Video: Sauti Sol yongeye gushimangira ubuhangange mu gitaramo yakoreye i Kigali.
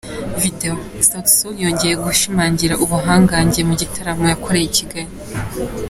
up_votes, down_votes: 2, 0